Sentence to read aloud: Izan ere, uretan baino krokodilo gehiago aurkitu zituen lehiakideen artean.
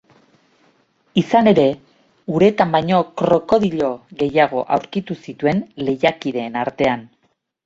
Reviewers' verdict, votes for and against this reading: accepted, 2, 0